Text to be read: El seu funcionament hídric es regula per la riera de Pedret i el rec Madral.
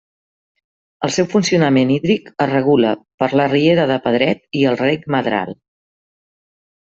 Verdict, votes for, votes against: accepted, 2, 0